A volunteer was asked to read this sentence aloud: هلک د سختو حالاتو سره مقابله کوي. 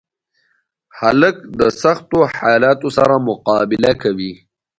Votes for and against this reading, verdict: 1, 2, rejected